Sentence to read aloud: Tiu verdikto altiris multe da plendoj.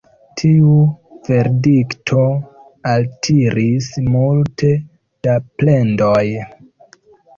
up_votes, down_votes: 0, 2